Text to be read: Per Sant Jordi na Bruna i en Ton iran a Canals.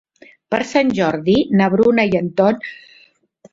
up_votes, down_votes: 0, 2